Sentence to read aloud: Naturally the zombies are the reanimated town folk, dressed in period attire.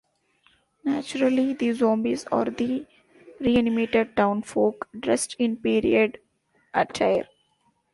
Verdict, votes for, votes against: accepted, 2, 1